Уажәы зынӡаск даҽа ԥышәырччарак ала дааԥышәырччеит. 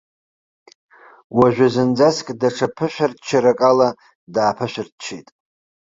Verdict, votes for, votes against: accepted, 2, 0